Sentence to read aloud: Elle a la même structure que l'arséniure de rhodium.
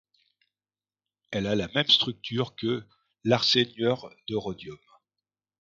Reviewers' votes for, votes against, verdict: 0, 2, rejected